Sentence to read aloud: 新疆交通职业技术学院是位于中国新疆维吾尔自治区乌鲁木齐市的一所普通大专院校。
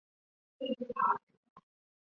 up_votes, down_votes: 0, 2